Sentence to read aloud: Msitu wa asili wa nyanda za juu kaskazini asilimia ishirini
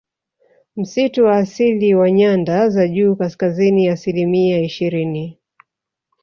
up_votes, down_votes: 3, 0